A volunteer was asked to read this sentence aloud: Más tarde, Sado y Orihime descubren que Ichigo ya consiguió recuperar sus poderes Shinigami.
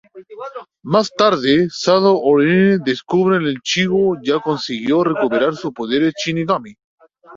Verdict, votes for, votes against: rejected, 0, 2